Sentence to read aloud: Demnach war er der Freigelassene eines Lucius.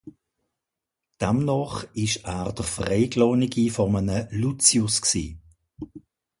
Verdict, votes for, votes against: rejected, 0, 2